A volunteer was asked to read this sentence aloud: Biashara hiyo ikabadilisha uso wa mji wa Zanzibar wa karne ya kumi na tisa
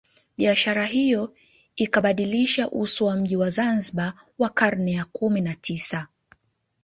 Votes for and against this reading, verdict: 2, 1, accepted